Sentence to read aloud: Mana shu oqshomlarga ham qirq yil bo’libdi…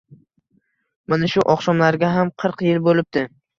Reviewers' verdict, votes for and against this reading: accepted, 2, 0